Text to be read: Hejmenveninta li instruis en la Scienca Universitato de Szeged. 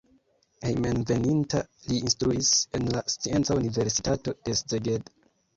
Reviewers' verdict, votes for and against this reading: rejected, 0, 2